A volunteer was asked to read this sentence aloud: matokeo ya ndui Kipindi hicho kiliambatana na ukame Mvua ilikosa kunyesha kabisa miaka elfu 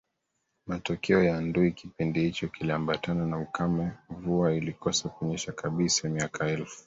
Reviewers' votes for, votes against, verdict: 2, 1, accepted